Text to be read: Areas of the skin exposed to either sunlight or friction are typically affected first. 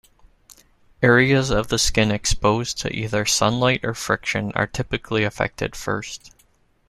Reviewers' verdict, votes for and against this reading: accepted, 2, 0